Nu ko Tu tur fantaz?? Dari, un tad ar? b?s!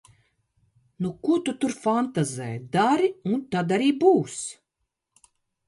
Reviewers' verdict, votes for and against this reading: rejected, 0, 2